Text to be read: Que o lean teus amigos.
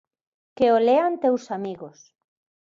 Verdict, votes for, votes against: accepted, 2, 0